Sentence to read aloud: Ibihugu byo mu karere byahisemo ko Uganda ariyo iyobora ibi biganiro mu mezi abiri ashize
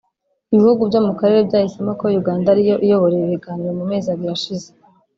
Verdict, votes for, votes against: rejected, 1, 2